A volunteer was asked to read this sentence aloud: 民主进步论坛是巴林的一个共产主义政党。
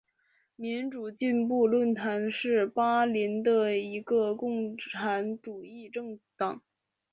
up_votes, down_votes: 2, 1